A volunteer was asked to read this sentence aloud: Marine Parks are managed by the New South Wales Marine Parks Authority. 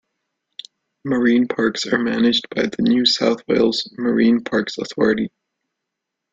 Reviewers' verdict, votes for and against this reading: accepted, 2, 0